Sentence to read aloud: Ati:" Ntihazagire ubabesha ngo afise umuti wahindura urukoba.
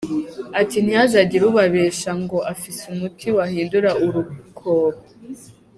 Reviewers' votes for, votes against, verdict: 1, 2, rejected